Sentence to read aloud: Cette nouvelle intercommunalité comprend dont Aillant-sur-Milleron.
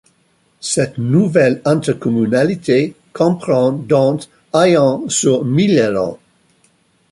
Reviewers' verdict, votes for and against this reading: rejected, 0, 2